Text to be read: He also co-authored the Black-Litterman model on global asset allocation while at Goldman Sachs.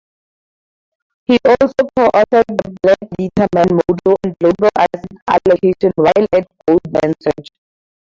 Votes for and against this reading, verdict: 0, 2, rejected